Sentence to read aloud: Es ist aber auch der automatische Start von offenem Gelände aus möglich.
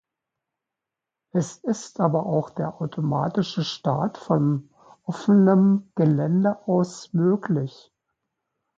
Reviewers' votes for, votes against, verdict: 2, 0, accepted